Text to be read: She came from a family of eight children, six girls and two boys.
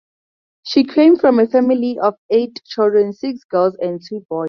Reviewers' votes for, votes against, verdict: 0, 2, rejected